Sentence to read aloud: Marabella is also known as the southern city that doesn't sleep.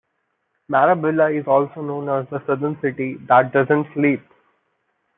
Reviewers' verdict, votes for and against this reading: accepted, 2, 1